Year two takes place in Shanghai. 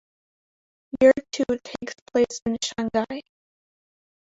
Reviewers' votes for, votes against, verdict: 0, 2, rejected